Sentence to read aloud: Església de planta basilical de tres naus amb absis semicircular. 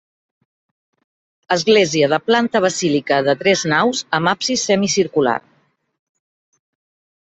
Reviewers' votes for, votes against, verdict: 1, 2, rejected